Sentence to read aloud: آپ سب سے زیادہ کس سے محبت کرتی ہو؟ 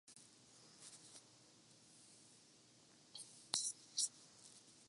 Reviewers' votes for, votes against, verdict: 0, 2, rejected